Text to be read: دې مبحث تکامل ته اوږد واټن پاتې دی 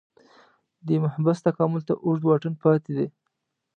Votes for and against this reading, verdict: 1, 2, rejected